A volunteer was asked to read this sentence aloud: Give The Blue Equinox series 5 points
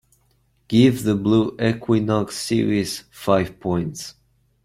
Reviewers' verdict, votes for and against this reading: rejected, 0, 2